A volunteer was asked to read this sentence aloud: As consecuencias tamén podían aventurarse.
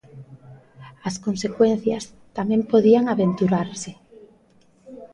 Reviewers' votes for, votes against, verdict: 1, 2, rejected